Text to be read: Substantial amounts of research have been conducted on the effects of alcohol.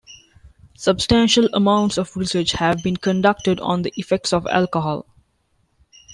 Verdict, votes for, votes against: accepted, 2, 0